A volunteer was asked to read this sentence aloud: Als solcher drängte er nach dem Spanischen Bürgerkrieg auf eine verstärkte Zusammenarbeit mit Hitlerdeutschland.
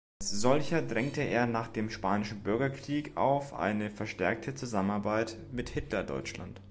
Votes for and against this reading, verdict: 1, 2, rejected